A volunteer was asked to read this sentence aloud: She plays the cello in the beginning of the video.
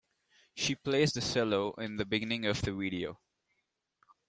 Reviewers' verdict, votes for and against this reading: accepted, 2, 1